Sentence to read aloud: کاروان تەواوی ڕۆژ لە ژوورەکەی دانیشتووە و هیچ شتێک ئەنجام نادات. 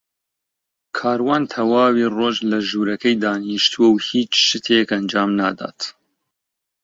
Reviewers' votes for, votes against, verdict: 2, 0, accepted